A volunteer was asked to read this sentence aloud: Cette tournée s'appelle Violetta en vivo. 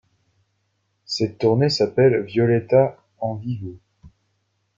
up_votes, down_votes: 2, 0